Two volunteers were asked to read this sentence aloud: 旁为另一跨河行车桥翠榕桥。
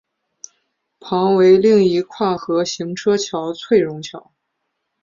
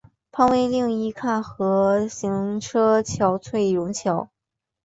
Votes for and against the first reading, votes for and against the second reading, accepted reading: 4, 1, 2, 3, first